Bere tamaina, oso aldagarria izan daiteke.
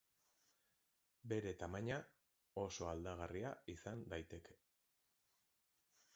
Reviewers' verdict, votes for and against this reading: accepted, 2, 0